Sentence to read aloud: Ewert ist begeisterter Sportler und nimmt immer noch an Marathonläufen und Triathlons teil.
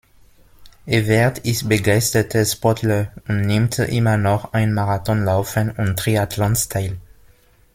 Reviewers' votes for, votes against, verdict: 0, 2, rejected